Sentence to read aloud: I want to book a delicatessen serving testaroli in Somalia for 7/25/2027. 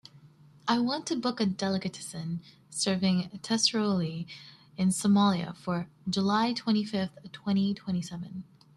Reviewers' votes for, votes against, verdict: 0, 2, rejected